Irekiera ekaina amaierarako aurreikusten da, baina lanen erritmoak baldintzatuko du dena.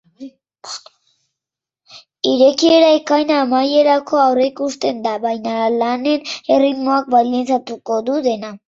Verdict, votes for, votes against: rejected, 1, 2